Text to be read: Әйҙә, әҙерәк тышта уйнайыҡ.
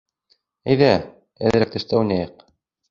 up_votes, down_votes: 2, 0